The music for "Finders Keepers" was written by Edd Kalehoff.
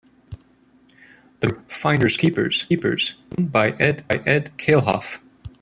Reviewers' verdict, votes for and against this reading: rejected, 0, 2